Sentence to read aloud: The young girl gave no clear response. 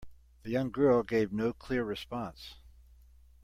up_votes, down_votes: 2, 0